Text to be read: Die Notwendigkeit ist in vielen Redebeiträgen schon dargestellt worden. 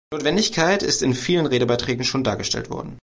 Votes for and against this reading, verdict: 0, 3, rejected